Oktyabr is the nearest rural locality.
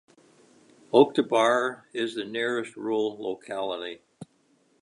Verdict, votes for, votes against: accepted, 2, 1